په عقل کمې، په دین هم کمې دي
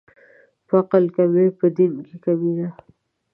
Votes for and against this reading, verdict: 0, 2, rejected